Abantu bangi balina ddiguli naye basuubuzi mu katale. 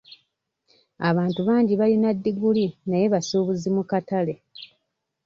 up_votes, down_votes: 1, 2